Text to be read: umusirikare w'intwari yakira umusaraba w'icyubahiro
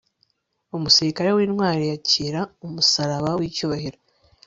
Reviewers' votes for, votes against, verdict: 3, 0, accepted